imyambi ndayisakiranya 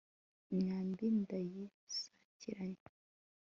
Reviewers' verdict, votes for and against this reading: accepted, 2, 0